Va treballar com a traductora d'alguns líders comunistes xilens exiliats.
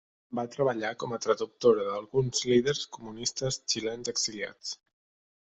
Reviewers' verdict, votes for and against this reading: accepted, 3, 0